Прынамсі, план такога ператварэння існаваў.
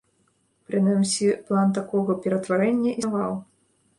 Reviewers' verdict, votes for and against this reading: rejected, 1, 2